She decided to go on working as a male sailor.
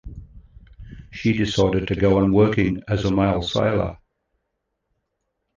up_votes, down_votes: 2, 0